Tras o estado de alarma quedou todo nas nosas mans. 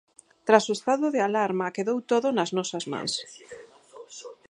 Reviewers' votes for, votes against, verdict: 4, 0, accepted